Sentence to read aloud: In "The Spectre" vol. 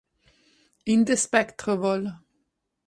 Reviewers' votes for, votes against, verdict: 2, 4, rejected